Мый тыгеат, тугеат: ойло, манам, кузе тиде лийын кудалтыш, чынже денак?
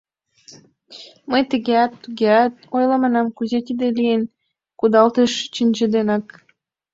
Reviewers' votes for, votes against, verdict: 1, 2, rejected